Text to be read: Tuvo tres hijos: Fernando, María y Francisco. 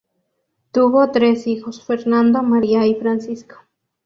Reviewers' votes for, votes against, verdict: 2, 0, accepted